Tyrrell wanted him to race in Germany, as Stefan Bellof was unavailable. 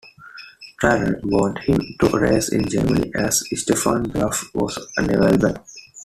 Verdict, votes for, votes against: rejected, 1, 2